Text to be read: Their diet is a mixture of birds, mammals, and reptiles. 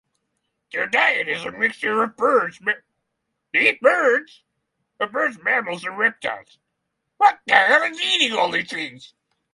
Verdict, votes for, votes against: rejected, 0, 6